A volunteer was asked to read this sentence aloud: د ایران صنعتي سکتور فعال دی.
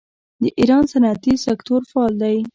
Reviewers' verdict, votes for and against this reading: rejected, 1, 2